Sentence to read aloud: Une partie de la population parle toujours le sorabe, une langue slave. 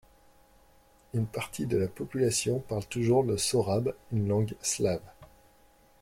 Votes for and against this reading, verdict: 0, 2, rejected